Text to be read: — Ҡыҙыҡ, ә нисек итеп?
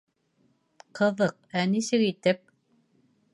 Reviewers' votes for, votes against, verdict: 2, 0, accepted